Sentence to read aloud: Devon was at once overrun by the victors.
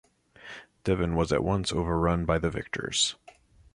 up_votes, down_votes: 2, 0